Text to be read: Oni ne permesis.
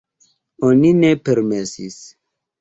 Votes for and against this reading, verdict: 0, 2, rejected